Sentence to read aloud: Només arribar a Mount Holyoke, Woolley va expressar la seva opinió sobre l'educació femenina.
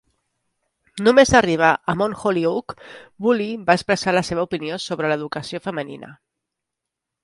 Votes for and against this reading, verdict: 2, 0, accepted